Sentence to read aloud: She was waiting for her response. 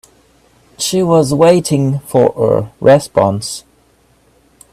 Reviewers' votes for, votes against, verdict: 1, 2, rejected